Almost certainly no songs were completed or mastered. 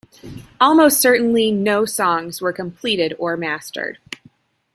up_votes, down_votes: 3, 1